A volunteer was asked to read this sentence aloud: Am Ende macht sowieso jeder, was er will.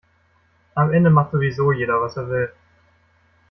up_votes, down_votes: 2, 0